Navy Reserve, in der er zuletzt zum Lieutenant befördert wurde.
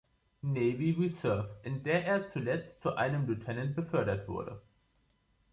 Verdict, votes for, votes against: rejected, 1, 2